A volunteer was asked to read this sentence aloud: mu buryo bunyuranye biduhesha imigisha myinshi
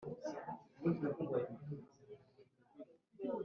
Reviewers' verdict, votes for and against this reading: rejected, 1, 2